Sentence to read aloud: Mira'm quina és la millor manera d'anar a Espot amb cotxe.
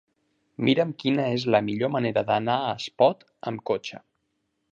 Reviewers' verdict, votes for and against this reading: accepted, 3, 0